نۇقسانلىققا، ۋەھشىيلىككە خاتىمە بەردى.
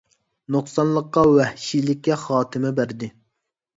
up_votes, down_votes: 3, 0